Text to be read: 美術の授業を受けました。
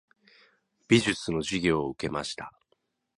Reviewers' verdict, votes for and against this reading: accepted, 2, 0